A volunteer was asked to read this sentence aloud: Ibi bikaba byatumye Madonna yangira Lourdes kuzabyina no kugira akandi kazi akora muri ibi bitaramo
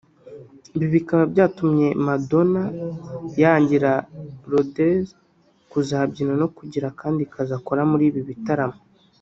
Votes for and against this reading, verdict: 1, 2, rejected